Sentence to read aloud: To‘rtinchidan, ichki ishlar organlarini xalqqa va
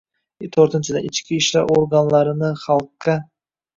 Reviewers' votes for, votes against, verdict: 0, 2, rejected